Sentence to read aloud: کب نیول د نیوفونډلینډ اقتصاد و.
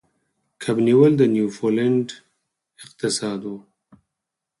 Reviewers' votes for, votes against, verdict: 6, 0, accepted